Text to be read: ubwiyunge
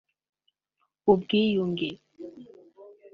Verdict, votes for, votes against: accepted, 2, 1